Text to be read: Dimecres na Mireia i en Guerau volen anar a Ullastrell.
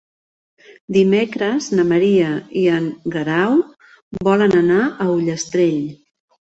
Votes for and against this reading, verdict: 1, 2, rejected